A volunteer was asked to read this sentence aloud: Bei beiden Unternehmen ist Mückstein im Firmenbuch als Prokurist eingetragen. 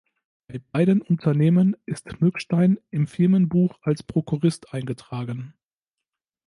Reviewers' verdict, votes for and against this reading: rejected, 1, 2